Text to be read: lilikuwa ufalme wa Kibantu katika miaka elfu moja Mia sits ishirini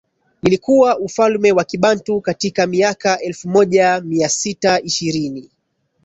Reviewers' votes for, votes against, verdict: 6, 4, accepted